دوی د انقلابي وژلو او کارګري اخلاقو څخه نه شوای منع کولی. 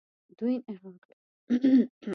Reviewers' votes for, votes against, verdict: 1, 2, rejected